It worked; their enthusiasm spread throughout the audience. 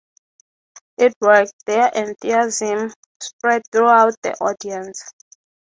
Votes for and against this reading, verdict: 3, 3, rejected